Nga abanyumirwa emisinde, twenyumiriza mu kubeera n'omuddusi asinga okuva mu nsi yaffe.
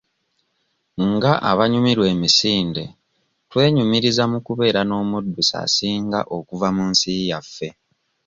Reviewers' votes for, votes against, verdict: 2, 0, accepted